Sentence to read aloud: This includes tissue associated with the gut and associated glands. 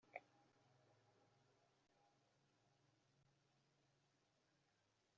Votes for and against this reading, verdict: 0, 2, rejected